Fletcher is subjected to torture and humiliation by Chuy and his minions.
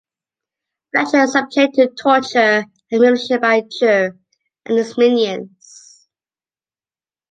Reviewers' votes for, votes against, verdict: 1, 2, rejected